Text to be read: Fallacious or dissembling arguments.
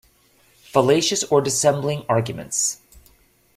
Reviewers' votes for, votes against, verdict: 2, 0, accepted